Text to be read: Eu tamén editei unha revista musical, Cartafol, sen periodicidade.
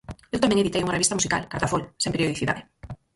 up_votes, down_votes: 0, 4